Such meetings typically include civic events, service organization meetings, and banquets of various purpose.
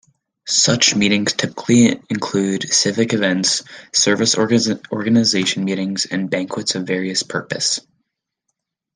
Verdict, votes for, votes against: accepted, 2, 0